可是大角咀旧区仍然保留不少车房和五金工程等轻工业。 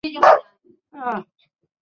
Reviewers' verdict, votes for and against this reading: rejected, 0, 2